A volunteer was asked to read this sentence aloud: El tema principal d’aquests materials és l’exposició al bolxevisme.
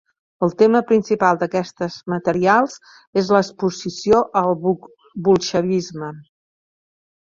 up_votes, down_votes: 0, 2